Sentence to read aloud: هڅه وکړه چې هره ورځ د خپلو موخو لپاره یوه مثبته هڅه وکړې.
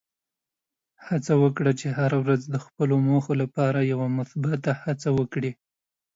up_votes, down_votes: 2, 0